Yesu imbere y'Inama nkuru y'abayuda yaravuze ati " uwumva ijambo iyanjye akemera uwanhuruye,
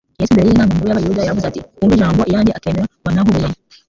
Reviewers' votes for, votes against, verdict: 0, 2, rejected